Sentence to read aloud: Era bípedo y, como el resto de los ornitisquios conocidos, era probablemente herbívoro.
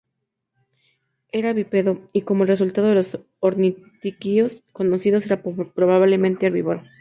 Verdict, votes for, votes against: accepted, 2, 0